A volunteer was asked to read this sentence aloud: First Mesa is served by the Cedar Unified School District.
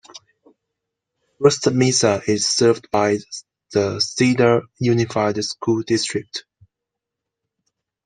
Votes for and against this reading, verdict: 2, 1, accepted